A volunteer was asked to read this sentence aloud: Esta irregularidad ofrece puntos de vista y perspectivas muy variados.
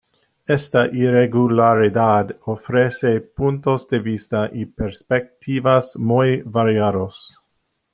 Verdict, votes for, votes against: rejected, 0, 2